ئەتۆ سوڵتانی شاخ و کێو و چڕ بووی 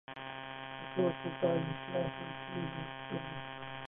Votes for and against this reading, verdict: 1, 2, rejected